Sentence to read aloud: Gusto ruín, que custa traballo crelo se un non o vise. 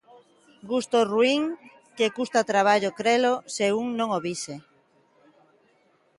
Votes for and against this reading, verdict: 2, 0, accepted